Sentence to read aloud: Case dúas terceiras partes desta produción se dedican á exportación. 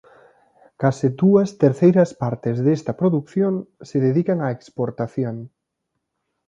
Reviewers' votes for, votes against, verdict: 2, 1, accepted